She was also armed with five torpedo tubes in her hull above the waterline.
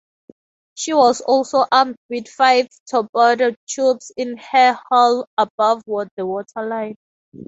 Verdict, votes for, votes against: rejected, 0, 2